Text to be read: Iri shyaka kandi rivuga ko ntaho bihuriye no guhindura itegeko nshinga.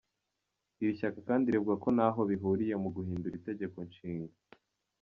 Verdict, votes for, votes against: accepted, 2, 0